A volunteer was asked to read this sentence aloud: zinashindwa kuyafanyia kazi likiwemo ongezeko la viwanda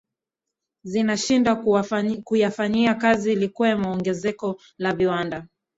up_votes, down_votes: 0, 2